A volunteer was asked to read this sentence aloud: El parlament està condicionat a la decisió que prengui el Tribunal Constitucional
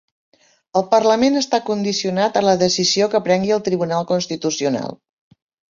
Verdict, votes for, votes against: accepted, 3, 0